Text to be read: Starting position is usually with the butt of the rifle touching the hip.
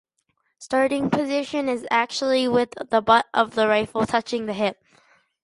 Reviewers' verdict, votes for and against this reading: rejected, 0, 2